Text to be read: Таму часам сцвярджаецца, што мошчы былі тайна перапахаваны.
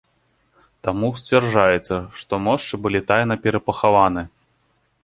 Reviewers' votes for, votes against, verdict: 0, 2, rejected